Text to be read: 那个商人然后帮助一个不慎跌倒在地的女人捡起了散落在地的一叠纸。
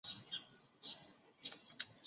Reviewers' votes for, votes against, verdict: 0, 2, rejected